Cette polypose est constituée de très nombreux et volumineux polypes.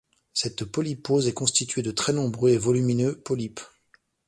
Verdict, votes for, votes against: accepted, 2, 0